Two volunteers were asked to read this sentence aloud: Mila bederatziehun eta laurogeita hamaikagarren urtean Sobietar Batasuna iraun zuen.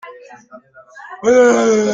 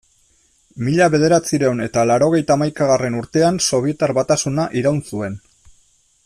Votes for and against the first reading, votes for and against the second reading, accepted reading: 0, 2, 2, 1, second